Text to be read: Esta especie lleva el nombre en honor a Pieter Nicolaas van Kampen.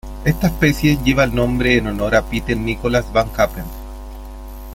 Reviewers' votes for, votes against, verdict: 2, 0, accepted